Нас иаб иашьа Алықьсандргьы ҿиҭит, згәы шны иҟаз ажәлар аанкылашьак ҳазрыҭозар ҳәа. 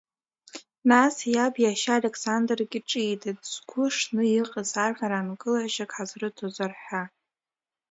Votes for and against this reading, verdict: 1, 2, rejected